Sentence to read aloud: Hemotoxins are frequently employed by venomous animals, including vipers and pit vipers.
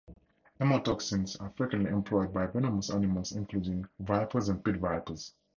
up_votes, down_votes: 4, 0